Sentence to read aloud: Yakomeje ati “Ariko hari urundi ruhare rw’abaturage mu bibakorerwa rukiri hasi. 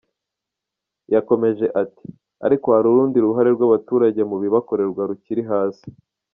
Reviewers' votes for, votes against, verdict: 1, 2, rejected